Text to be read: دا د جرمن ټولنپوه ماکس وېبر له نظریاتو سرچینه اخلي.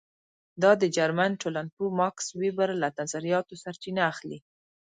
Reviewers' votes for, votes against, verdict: 2, 1, accepted